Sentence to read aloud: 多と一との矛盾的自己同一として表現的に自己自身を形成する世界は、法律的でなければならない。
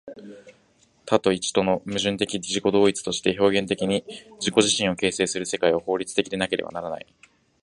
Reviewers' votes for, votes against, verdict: 2, 0, accepted